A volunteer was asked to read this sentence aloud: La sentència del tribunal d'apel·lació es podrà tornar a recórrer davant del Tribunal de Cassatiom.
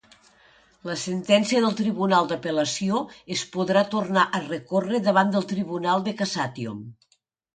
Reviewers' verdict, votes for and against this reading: accepted, 2, 0